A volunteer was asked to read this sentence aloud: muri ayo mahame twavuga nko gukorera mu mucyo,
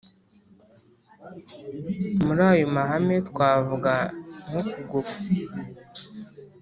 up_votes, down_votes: 0, 2